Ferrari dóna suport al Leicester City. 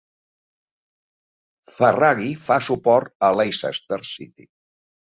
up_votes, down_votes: 0, 3